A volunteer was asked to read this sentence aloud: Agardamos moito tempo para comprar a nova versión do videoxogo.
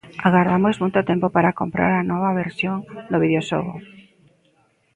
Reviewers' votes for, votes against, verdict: 2, 1, accepted